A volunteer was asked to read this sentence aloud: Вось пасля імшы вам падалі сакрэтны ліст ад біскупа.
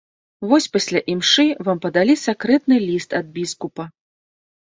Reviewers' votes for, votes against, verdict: 2, 0, accepted